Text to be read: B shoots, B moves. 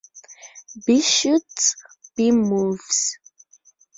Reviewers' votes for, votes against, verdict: 2, 0, accepted